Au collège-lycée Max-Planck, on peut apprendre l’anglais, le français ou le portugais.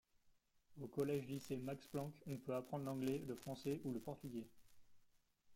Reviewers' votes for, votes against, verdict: 2, 1, accepted